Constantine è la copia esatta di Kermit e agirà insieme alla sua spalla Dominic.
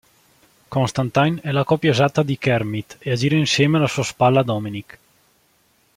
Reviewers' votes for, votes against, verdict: 1, 2, rejected